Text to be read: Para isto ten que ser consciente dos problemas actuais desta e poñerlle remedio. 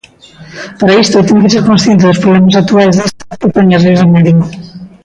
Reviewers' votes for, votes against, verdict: 0, 2, rejected